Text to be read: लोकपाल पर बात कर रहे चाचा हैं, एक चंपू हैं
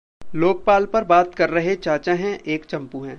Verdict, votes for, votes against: accepted, 2, 0